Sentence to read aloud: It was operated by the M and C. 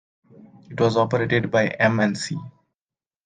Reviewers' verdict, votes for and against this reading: rejected, 0, 2